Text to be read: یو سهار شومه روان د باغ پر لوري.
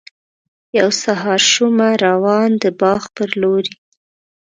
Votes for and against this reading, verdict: 3, 0, accepted